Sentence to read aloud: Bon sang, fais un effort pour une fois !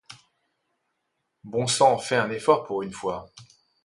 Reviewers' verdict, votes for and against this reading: accepted, 2, 0